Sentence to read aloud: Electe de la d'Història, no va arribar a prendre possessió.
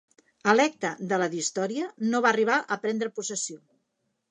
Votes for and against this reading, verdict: 3, 0, accepted